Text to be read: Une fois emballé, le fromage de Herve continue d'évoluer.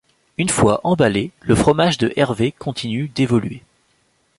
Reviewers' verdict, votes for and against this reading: rejected, 1, 2